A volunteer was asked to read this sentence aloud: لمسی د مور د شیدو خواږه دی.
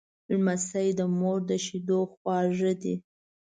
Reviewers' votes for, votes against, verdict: 1, 2, rejected